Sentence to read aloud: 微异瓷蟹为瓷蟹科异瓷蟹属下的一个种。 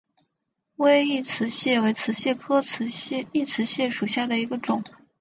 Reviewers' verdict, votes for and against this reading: accepted, 5, 0